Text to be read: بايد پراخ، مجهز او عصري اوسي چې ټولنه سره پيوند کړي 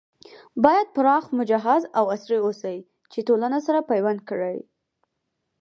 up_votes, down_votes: 4, 2